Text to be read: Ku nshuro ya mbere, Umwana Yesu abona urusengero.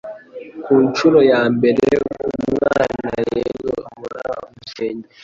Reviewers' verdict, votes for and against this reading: rejected, 0, 2